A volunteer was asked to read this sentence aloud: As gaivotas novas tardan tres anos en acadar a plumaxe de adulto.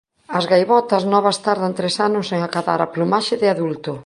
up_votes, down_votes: 2, 0